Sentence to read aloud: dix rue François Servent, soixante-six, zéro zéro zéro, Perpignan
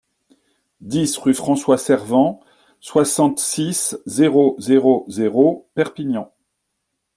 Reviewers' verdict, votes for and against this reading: accepted, 2, 0